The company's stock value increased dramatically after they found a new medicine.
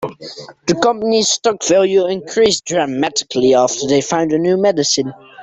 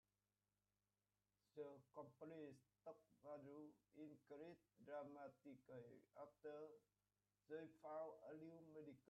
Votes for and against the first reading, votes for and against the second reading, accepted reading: 2, 0, 0, 4, first